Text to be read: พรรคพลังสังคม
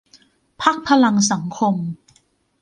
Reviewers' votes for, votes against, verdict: 2, 0, accepted